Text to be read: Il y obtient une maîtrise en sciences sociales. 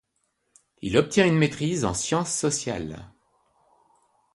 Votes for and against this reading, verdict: 0, 2, rejected